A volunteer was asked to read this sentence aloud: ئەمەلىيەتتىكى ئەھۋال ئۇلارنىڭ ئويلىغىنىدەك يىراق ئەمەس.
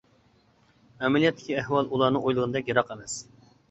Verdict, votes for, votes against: accepted, 2, 0